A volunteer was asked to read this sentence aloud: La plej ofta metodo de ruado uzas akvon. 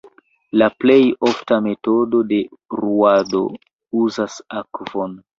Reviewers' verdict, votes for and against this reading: rejected, 1, 2